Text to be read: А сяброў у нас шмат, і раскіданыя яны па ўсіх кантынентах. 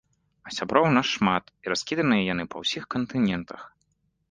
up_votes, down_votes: 2, 0